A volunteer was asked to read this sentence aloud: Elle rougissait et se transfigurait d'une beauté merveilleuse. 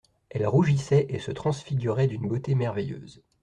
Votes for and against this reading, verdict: 2, 0, accepted